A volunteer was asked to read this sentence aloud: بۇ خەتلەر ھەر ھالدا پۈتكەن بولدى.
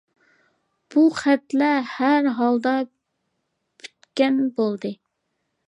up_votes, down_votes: 2, 0